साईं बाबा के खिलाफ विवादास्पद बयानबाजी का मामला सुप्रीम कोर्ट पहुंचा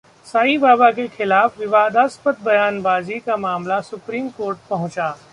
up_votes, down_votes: 2, 0